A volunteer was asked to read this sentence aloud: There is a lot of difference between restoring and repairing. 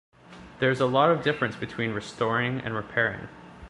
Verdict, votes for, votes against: accepted, 2, 0